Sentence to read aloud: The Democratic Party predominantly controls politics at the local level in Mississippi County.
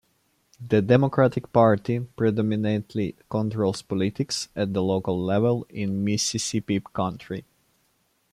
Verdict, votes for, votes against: rejected, 0, 2